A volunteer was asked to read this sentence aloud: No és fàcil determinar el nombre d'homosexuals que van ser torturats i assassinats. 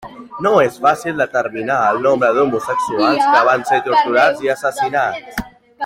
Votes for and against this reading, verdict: 0, 2, rejected